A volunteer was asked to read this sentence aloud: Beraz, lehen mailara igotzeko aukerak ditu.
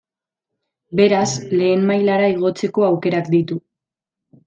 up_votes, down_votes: 2, 0